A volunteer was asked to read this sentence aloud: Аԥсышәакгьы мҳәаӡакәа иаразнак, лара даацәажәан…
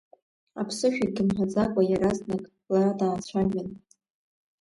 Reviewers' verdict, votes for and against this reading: rejected, 0, 2